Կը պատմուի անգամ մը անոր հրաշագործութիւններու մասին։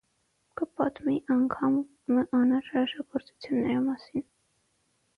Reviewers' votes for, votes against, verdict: 0, 6, rejected